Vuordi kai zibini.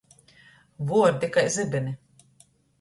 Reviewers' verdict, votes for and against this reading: rejected, 1, 2